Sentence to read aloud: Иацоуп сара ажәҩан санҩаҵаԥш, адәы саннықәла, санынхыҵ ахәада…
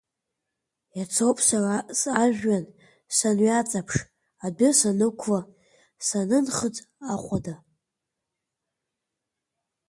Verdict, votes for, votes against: rejected, 1, 2